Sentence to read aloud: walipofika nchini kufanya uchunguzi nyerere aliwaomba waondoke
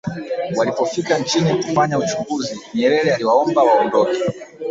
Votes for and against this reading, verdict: 3, 4, rejected